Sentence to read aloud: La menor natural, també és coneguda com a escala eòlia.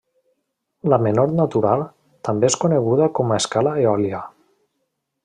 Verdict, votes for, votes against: accepted, 3, 0